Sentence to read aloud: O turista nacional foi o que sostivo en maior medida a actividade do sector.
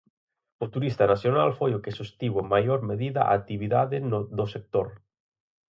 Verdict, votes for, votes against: rejected, 0, 4